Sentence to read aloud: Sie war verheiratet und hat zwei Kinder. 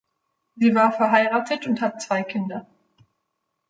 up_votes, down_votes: 2, 0